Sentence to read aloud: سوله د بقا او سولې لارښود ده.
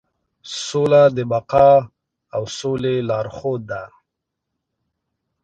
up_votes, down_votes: 2, 0